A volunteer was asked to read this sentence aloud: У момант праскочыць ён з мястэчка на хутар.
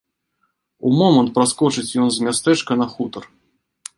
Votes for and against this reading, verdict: 2, 0, accepted